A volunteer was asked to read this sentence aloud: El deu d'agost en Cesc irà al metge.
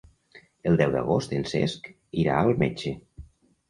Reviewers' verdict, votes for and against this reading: accepted, 3, 0